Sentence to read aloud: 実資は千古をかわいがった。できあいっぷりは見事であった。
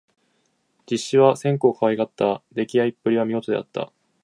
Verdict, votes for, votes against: accepted, 3, 0